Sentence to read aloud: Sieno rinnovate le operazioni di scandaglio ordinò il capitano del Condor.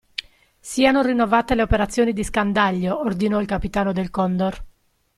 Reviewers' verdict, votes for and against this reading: rejected, 1, 2